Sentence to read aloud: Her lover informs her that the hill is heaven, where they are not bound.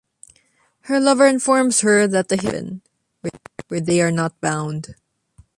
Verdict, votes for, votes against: rejected, 1, 2